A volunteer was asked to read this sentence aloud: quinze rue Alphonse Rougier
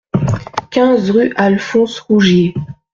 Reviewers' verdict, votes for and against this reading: accepted, 2, 0